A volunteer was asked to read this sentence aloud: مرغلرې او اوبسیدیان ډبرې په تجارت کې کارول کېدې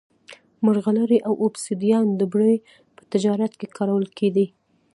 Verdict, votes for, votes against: accepted, 2, 0